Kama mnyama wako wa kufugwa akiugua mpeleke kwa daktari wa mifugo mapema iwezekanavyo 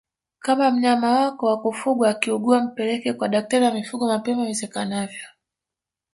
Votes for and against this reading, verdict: 1, 2, rejected